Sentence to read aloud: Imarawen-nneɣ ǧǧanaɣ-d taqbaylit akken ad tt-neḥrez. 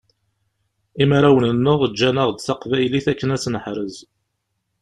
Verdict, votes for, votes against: accepted, 2, 0